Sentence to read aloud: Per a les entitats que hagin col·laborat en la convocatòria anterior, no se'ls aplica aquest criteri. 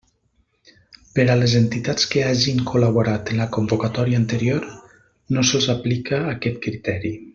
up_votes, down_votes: 3, 0